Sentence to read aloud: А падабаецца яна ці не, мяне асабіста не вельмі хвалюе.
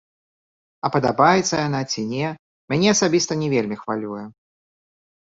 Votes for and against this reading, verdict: 2, 3, rejected